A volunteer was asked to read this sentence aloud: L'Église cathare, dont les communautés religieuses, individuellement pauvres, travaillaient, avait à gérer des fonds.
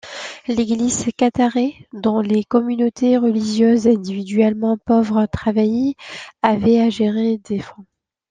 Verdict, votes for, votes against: rejected, 0, 2